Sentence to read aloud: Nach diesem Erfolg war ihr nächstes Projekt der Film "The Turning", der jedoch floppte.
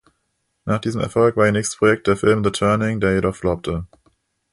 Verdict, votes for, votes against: accepted, 2, 0